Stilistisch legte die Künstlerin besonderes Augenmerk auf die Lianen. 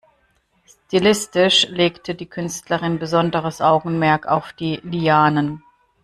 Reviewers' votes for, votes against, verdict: 3, 0, accepted